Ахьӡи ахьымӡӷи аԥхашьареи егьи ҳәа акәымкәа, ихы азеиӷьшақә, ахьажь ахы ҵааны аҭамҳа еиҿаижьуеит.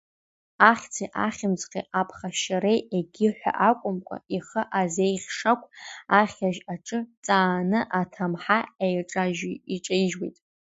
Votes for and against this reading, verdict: 0, 2, rejected